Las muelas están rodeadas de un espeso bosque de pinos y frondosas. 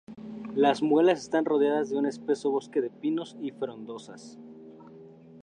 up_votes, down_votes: 4, 0